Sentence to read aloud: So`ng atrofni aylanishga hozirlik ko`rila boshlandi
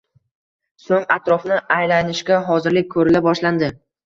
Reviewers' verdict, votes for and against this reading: rejected, 1, 2